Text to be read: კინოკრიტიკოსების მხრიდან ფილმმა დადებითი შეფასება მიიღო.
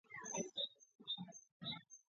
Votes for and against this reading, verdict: 0, 2, rejected